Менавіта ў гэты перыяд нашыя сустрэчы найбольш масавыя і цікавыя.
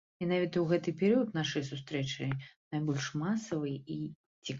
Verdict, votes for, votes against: rejected, 1, 2